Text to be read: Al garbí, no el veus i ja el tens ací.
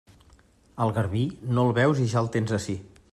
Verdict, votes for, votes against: accepted, 2, 0